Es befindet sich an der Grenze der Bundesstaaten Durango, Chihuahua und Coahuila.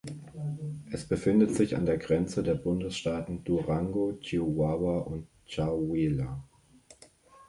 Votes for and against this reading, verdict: 2, 1, accepted